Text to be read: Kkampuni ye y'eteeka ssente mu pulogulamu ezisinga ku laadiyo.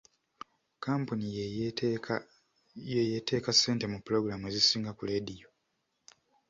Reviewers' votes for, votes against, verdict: 1, 2, rejected